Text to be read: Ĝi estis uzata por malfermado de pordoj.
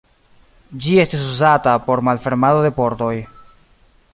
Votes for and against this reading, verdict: 2, 0, accepted